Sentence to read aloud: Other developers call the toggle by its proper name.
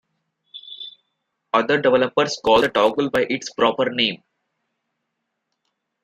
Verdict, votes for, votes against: rejected, 1, 2